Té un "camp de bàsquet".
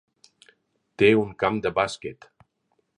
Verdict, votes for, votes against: accepted, 4, 0